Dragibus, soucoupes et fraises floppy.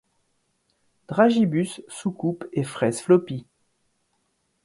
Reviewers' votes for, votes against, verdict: 2, 0, accepted